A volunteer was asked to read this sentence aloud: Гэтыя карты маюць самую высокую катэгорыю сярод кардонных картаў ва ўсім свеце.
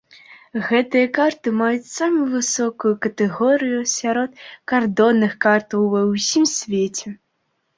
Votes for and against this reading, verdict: 2, 0, accepted